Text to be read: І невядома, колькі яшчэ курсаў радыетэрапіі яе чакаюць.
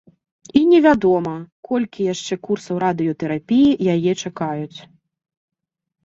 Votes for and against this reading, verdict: 2, 0, accepted